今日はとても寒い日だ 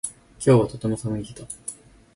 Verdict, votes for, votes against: accepted, 4, 0